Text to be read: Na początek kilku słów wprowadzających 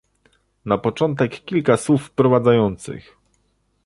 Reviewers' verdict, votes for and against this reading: rejected, 0, 2